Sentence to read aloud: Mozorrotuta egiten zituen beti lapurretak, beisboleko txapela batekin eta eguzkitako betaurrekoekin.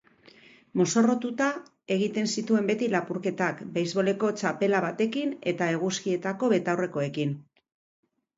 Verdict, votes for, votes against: rejected, 0, 2